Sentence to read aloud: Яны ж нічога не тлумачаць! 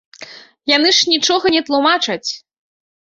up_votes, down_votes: 2, 0